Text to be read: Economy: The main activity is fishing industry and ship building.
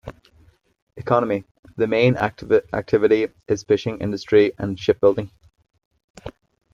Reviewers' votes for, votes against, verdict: 0, 2, rejected